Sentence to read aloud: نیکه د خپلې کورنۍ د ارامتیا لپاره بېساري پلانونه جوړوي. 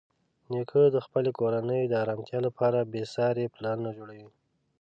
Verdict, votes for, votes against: accepted, 2, 0